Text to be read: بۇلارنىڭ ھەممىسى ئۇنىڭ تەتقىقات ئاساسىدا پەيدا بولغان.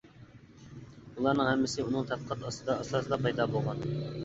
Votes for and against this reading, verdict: 0, 2, rejected